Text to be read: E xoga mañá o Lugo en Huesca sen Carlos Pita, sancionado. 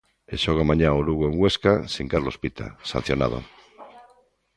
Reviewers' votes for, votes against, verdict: 2, 0, accepted